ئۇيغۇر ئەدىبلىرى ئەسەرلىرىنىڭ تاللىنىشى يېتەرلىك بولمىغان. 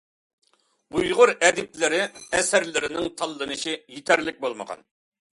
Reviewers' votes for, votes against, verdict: 2, 0, accepted